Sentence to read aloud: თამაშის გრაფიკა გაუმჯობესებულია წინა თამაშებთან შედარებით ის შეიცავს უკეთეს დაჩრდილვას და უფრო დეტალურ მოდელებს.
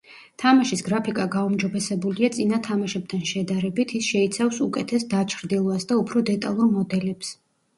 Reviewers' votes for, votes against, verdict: 2, 0, accepted